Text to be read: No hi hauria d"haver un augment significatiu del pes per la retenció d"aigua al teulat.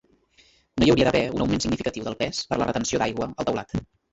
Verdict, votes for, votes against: rejected, 0, 2